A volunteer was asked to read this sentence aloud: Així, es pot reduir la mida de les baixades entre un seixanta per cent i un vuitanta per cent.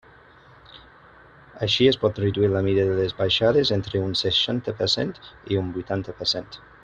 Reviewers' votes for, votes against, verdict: 0, 2, rejected